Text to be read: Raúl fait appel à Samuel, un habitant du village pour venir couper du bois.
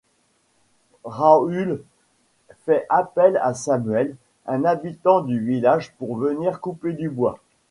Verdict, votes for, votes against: rejected, 0, 2